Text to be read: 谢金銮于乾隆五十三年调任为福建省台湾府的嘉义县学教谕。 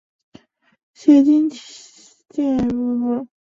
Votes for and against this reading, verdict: 0, 6, rejected